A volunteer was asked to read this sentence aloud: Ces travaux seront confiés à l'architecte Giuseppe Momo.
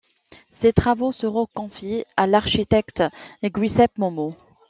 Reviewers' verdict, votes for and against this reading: rejected, 0, 2